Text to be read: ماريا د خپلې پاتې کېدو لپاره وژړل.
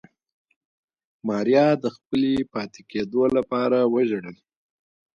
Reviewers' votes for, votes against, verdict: 2, 1, accepted